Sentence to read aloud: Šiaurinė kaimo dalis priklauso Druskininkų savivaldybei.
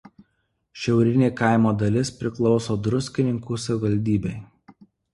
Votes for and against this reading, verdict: 2, 0, accepted